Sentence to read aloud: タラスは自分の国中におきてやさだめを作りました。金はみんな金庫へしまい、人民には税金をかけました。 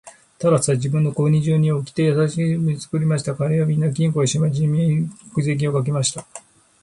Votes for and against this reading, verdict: 0, 2, rejected